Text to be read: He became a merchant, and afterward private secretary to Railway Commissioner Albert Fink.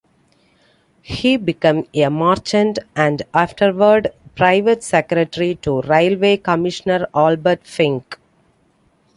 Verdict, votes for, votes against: accepted, 2, 1